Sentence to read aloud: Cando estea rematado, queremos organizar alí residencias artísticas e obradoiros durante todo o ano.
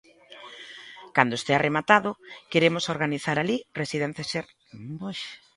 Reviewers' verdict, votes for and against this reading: rejected, 0, 2